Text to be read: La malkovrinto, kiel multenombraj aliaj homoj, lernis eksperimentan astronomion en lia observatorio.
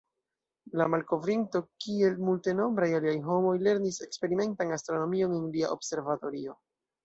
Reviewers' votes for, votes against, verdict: 0, 2, rejected